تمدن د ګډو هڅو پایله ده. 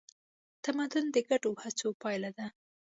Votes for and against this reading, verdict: 2, 0, accepted